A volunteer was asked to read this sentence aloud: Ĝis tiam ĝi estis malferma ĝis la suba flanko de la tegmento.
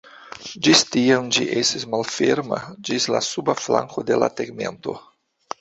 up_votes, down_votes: 0, 2